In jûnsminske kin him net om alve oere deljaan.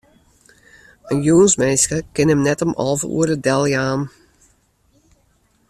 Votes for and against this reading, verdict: 2, 0, accepted